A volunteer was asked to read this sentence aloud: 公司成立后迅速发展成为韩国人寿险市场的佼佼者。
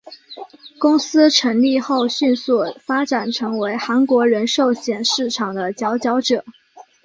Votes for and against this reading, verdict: 3, 0, accepted